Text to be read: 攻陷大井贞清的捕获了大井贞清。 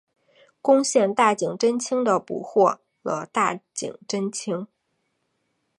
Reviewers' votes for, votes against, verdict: 2, 0, accepted